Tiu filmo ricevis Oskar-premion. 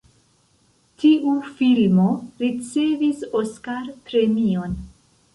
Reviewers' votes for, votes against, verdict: 1, 2, rejected